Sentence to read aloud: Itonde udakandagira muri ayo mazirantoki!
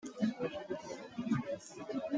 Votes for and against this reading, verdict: 0, 3, rejected